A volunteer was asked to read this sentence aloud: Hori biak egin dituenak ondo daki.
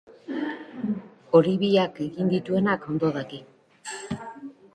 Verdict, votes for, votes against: accepted, 2, 1